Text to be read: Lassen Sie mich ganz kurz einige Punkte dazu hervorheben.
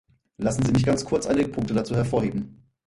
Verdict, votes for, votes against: rejected, 2, 4